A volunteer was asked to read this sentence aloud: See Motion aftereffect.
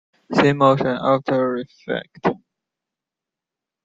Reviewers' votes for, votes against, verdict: 0, 2, rejected